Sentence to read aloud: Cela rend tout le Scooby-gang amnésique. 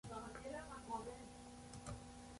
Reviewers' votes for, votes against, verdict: 0, 2, rejected